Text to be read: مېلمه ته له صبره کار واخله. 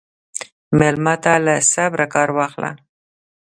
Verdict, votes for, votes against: accepted, 2, 0